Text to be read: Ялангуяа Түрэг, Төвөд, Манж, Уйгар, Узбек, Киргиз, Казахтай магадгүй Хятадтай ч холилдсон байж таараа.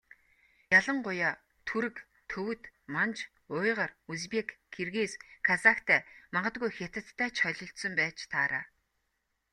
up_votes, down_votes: 2, 0